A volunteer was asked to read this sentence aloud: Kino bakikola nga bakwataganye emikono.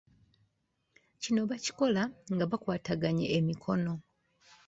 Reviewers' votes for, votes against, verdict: 2, 0, accepted